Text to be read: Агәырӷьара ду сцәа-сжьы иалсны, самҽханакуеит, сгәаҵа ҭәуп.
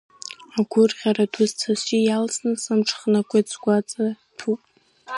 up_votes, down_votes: 1, 2